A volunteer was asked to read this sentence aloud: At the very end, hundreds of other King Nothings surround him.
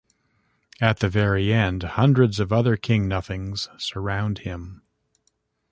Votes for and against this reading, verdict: 2, 0, accepted